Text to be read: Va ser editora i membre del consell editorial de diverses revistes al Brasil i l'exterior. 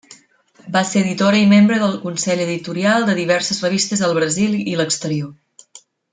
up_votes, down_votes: 2, 0